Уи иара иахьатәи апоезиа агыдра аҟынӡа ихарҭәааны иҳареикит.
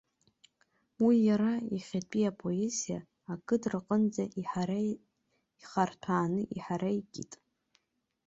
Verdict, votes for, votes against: rejected, 0, 2